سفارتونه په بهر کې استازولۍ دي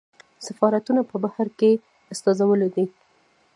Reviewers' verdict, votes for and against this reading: accepted, 2, 1